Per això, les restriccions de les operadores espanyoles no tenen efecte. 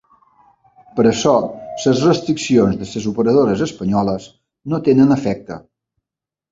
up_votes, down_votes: 1, 2